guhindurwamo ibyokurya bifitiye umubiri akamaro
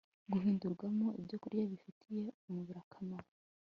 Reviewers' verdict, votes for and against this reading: accepted, 2, 0